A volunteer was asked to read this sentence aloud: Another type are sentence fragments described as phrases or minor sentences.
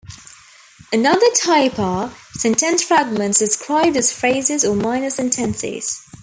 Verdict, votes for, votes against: accepted, 2, 1